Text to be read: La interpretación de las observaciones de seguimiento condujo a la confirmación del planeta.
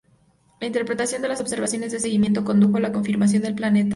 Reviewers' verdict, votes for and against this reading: accepted, 2, 0